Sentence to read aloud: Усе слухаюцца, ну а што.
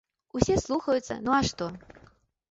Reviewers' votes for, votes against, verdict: 2, 0, accepted